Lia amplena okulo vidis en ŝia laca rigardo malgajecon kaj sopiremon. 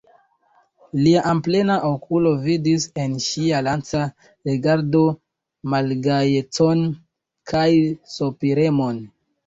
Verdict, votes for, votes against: accepted, 2, 0